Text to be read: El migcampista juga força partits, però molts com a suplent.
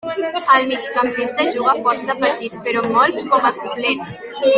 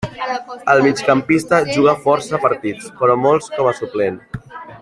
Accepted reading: first